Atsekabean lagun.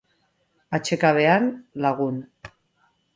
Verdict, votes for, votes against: accepted, 2, 0